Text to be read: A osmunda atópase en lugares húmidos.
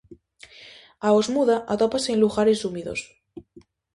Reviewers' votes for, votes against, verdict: 0, 2, rejected